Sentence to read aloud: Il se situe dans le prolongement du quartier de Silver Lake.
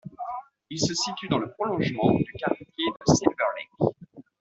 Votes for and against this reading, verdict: 2, 1, accepted